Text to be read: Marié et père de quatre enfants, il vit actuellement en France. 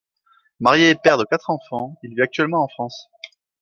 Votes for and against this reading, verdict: 2, 0, accepted